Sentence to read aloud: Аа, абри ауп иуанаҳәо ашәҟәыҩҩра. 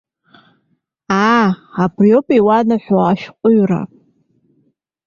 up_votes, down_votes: 2, 0